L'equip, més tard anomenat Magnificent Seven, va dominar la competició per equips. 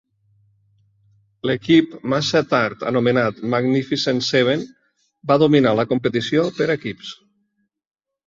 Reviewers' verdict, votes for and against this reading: rejected, 0, 2